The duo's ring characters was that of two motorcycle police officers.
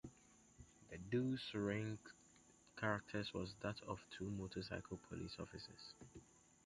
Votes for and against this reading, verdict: 0, 2, rejected